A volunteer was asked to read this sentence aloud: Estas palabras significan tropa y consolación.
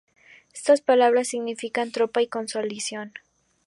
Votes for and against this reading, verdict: 0, 2, rejected